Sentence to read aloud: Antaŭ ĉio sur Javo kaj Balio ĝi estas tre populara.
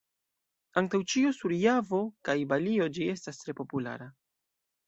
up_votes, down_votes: 2, 0